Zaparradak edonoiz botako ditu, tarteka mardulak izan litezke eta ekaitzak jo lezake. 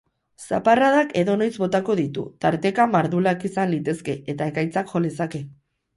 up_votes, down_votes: 2, 0